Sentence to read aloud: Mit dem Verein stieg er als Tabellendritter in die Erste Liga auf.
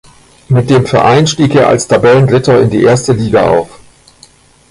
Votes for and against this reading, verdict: 1, 2, rejected